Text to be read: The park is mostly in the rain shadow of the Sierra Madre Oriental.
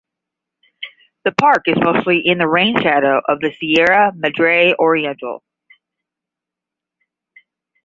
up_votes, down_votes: 10, 0